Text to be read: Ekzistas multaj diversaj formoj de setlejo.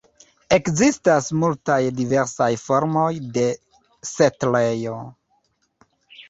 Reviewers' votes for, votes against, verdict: 3, 1, accepted